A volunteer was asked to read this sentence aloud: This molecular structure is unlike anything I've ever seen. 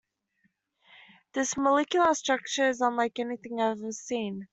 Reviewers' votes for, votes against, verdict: 1, 2, rejected